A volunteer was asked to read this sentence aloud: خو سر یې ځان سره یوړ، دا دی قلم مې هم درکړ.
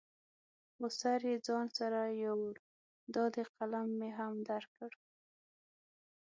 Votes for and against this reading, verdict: 6, 0, accepted